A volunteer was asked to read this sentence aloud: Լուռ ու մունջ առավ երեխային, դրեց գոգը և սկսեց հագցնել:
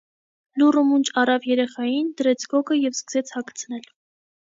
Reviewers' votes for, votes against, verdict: 2, 0, accepted